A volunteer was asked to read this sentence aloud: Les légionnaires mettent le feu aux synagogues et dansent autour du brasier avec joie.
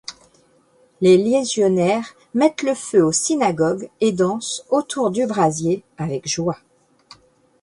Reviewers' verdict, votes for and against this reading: rejected, 1, 2